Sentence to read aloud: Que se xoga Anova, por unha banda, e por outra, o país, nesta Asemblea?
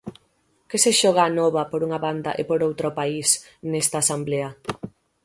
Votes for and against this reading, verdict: 3, 6, rejected